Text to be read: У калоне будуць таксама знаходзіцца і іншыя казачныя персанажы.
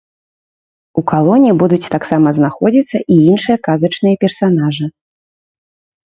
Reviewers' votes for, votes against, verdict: 2, 0, accepted